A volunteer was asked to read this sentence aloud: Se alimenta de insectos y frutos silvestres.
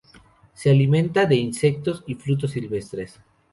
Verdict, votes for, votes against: rejected, 0, 2